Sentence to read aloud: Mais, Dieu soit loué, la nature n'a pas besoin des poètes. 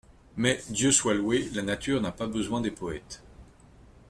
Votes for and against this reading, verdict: 2, 0, accepted